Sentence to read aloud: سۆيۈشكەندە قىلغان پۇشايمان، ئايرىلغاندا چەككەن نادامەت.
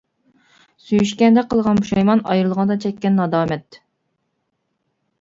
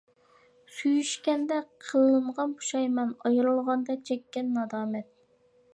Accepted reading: first